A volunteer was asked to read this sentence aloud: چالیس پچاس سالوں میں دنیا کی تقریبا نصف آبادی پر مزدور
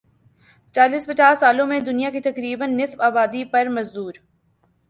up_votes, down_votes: 2, 0